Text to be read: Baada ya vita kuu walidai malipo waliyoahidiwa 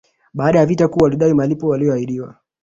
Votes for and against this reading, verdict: 2, 3, rejected